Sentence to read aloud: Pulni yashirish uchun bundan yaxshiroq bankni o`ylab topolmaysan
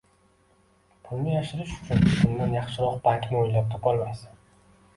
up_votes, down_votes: 2, 1